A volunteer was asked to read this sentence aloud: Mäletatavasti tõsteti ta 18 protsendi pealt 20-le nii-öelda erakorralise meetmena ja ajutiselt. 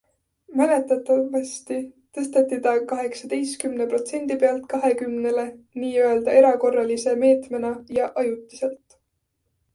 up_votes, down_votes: 0, 2